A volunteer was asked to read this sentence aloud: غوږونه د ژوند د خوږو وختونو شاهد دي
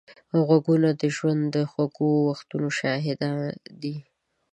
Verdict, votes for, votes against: rejected, 1, 2